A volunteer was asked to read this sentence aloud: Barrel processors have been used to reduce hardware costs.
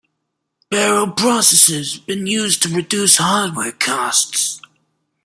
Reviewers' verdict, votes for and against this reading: rejected, 1, 2